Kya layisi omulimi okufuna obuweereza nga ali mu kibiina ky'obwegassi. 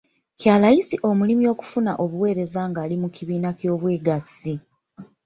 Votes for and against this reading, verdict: 1, 2, rejected